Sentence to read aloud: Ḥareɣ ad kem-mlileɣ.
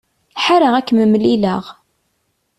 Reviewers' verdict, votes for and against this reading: accepted, 2, 0